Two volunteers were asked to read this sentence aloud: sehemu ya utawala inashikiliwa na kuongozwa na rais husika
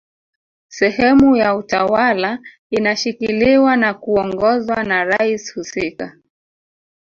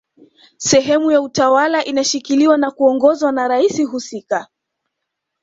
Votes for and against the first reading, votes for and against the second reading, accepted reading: 0, 2, 2, 0, second